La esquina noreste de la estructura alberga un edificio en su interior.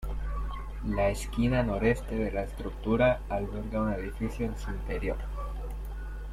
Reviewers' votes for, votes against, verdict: 2, 1, accepted